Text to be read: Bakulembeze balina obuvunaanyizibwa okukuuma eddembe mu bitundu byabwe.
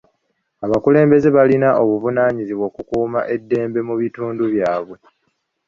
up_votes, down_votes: 0, 2